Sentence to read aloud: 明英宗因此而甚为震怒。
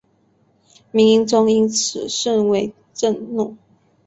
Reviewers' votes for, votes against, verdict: 2, 0, accepted